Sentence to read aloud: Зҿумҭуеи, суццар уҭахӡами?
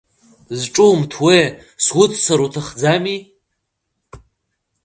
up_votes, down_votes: 2, 0